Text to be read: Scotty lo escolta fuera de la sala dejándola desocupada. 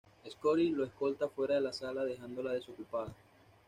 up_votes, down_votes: 1, 2